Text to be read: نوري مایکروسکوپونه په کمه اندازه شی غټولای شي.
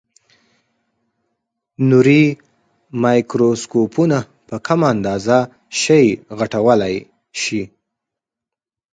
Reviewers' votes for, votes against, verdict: 4, 0, accepted